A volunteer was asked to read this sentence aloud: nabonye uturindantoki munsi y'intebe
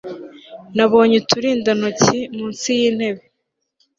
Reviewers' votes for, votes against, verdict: 2, 0, accepted